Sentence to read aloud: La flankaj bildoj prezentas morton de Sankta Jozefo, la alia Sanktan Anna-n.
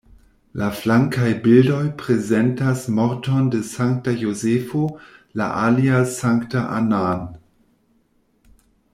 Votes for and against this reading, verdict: 2, 1, accepted